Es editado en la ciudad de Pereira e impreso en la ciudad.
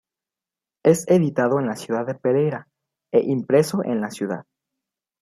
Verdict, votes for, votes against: accepted, 2, 0